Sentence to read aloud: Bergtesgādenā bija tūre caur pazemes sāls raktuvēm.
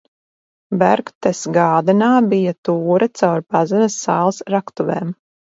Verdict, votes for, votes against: accepted, 4, 0